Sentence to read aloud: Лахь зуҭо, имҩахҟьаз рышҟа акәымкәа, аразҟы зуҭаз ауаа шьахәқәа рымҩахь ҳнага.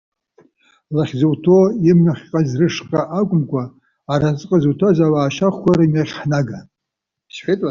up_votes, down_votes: 0, 2